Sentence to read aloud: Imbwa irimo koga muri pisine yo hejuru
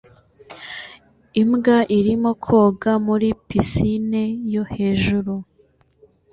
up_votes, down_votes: 2, 0